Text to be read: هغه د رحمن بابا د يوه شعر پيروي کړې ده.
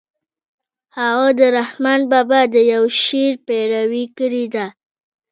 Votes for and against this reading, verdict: 2, 0, accepted